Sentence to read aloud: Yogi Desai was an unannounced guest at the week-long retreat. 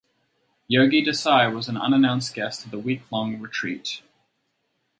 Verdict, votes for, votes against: accepted, 4, 0